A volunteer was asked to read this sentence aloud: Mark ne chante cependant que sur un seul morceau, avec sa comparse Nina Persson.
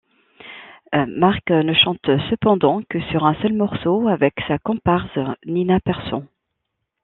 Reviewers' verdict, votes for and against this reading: accepted, 2, 0